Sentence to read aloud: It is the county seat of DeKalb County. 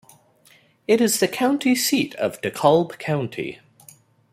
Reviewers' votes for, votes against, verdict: 2, 0, accepted